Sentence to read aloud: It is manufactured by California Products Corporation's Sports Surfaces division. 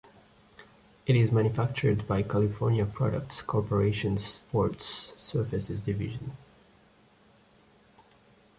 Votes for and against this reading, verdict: 2, 0, accepted